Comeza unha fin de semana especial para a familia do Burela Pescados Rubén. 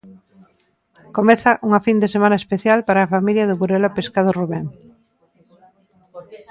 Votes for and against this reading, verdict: 2, 0, accepted